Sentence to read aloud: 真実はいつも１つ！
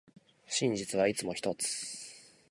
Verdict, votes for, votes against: rejected, 0, 2